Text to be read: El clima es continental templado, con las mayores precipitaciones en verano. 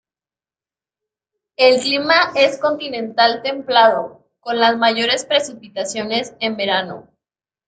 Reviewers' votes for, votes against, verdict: 2, 0, accepted